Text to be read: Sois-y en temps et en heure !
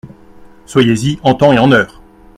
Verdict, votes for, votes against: rejected, 1, 2